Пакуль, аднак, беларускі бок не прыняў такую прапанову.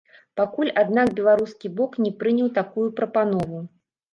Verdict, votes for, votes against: rejected, 1, 2